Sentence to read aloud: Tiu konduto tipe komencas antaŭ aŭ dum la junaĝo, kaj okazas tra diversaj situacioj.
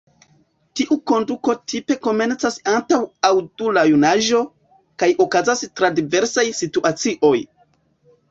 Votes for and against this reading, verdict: 1, 2, rejected